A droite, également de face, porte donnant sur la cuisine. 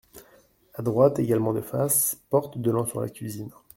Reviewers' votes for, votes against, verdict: 2, 0, accepted